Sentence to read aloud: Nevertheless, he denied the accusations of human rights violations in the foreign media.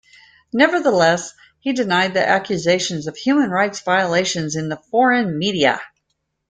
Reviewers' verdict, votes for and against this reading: accepted, 2, 0